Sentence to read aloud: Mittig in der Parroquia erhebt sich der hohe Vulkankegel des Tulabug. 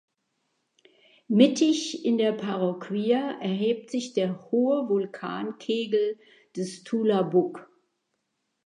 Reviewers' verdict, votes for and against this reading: accepted, 2, 0